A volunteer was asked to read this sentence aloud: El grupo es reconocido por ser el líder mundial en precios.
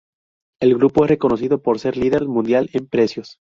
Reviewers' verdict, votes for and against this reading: rejected, 2, 2